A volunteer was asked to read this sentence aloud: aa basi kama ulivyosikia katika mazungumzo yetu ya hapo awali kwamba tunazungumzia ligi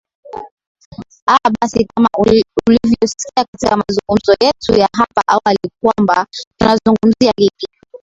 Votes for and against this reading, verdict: 1, 2, rejected